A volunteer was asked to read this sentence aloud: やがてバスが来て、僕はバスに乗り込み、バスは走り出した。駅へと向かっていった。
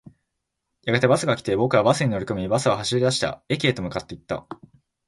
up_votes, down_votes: 0, 2